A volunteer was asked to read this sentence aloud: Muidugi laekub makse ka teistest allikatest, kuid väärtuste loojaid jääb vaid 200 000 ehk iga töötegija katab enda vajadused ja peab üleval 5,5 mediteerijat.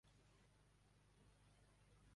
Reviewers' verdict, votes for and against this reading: rejected, 0, 2